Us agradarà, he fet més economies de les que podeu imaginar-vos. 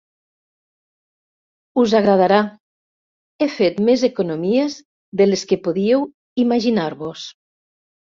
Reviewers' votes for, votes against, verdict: 1, 2, rejected